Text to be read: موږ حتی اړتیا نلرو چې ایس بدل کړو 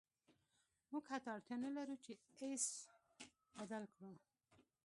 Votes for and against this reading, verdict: 1, 2, rejected